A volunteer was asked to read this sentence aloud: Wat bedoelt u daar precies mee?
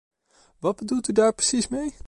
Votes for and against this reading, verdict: 2, 0, accepted